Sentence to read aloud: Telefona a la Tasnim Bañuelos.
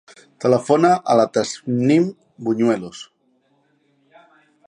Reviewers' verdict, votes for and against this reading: rejected, 0, 2